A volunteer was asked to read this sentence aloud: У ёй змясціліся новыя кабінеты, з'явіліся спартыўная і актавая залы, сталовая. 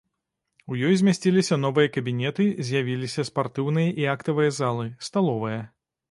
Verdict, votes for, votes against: rejected, 1, 2